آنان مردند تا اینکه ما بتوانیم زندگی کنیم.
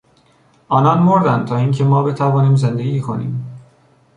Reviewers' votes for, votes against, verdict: 2, 0, accepted